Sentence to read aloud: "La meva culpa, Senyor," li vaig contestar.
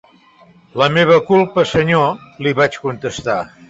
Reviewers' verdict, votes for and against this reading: accepted, 3, 0